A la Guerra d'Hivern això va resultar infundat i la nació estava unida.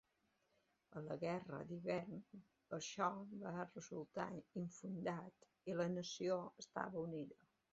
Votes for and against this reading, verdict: 2, 1, accepted